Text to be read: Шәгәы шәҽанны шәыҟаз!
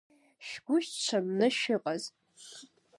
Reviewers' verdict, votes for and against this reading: accepted, 2, 1